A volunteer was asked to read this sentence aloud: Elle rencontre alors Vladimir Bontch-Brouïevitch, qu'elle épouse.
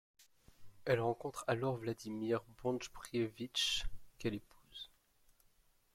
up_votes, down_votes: 0, 2